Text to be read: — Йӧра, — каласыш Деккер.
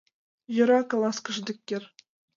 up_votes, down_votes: 2, 1